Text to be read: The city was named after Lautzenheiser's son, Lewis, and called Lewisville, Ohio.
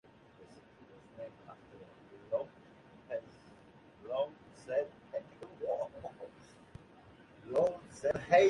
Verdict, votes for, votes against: rejected, 0, 2